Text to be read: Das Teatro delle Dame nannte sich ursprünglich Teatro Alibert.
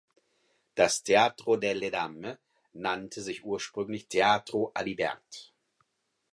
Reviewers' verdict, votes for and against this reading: accepted, 4, 0